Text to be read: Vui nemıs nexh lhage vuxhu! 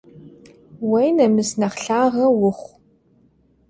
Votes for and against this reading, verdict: 0, 2, rejected